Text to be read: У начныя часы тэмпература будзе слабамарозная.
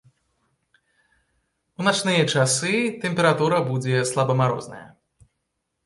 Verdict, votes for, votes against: accepted, 2, 0